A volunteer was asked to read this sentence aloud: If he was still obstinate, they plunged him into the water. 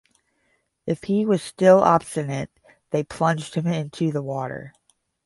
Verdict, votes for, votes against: accepted, 10, 0